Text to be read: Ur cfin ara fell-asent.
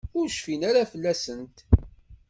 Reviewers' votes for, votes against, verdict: 2, 0, accepted